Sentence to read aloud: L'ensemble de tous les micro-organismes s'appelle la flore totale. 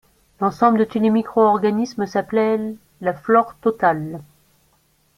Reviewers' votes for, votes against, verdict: 0, 2, rejected